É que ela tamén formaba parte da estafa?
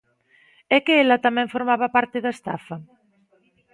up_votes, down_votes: 2, 0